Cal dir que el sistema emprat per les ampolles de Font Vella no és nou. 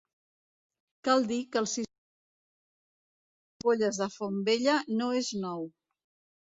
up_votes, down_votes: 0, 2